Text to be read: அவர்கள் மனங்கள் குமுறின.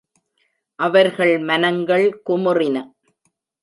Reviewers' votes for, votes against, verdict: 1, 2, rejected